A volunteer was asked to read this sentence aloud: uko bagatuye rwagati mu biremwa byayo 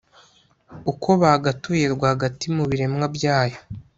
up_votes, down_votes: 2, 0